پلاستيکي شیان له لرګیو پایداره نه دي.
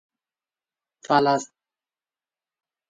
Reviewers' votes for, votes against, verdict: 0, 2, rejected